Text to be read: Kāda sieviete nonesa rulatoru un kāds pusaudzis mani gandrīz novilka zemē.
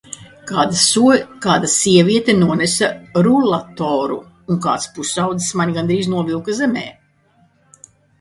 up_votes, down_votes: 0, 2